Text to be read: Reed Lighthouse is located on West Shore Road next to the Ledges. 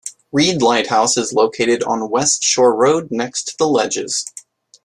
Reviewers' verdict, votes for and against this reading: accepted, 2, 1